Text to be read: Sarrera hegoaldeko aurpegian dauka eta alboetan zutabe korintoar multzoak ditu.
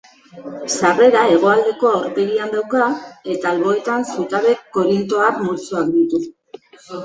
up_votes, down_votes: 2, 1